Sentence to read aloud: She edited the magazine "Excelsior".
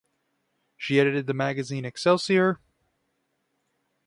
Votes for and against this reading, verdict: 3, 0, accepted